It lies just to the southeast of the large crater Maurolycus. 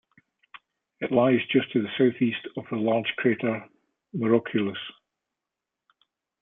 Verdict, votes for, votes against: rejected, 1, 2